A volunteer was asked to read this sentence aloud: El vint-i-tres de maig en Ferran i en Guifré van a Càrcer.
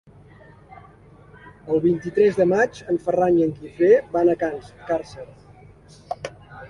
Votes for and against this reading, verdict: 0, 2, rejected